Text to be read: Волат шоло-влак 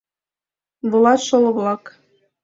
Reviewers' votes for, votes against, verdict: 2, 0, accepted